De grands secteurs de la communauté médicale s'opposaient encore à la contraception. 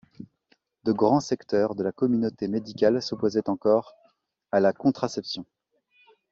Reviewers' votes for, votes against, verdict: 2, 0, accepted